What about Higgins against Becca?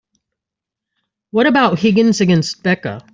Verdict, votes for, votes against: accepted, 2, 0